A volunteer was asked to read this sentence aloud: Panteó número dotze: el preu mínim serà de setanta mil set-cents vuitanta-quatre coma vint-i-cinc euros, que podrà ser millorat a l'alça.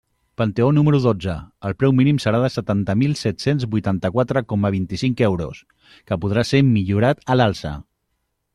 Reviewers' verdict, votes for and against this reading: accepted, 3, 0